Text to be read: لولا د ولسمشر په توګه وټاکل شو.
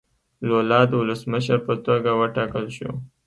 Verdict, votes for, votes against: accepted, 2, 0